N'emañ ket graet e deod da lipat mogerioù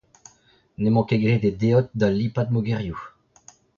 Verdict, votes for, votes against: rejected, 0, 2